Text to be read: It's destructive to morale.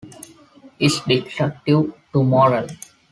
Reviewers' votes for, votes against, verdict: 1, 2, rejected